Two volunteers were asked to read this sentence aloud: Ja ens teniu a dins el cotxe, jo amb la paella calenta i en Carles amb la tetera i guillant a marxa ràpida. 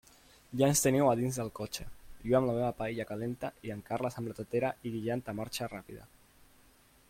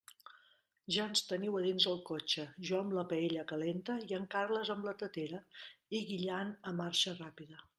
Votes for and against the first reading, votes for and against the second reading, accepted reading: 0, 2, 2, 0, second